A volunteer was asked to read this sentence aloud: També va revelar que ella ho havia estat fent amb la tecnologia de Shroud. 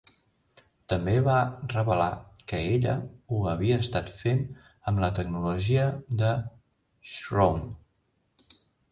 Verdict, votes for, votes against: accepted, 4, 2